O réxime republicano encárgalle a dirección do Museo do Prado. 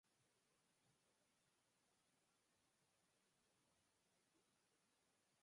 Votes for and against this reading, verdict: 2, 4, rejected